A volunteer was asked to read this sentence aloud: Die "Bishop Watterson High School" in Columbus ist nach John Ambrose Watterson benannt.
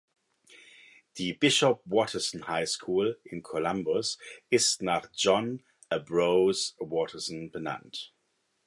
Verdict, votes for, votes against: rejected, 1, 2